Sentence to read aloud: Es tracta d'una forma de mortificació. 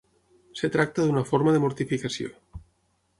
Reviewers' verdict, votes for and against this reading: rejected, 0, 6